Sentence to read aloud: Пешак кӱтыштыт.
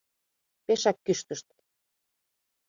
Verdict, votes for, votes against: rejected, 0, 2